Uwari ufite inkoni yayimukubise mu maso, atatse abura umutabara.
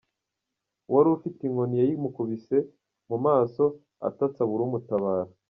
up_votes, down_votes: 1, 2